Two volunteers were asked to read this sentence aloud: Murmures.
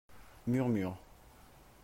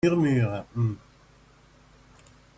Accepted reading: first